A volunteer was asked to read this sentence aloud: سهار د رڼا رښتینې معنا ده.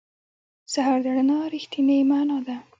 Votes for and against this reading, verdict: 2, 1, accepted